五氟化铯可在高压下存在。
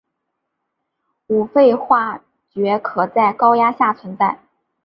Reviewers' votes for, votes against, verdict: 2, 0, accepted